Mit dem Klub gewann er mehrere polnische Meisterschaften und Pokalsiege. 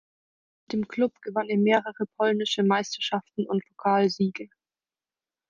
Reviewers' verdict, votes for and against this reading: rejected, 0, 4